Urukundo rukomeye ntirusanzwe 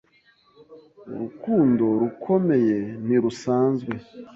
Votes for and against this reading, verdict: 2, 0, accepted